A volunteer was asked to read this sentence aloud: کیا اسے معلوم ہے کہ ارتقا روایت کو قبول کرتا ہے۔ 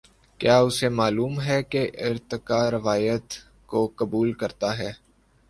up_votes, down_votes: 2, 0